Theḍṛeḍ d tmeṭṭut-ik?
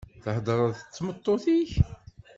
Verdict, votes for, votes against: accepted, 2, 0